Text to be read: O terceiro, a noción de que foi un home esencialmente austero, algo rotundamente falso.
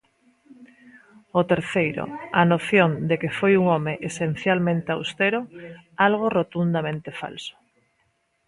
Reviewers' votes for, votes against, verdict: 2, 0, accepted